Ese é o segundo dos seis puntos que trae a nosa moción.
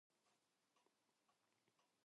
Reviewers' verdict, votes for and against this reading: rejected, 0, 4